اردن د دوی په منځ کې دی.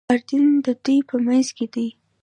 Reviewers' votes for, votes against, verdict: 2, 0, accepted